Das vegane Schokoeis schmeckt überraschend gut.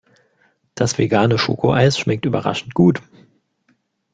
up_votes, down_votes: 2, 0